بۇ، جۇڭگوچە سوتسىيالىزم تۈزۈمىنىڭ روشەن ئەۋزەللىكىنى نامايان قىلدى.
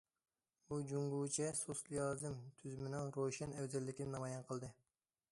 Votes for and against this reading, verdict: 1, 2, rejected